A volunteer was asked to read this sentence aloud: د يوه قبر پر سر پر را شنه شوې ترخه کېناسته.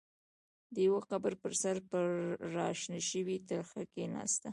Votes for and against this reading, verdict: 1, 2, rejected